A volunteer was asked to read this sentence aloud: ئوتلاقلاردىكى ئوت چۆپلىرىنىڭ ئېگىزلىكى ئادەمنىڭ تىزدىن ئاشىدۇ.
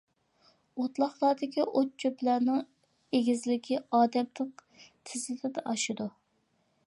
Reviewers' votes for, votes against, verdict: 0, 2, rejected